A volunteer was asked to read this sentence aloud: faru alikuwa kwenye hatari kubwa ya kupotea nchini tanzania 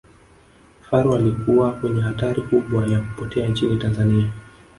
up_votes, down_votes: 2, 1